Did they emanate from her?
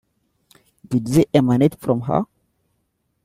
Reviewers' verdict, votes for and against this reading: rejected, 0, 2